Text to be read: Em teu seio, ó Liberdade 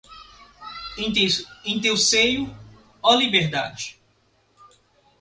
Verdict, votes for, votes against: rejected, 0, 2